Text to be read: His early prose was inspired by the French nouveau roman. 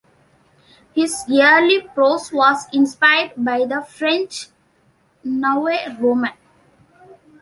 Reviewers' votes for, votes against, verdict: 2, 0, accepted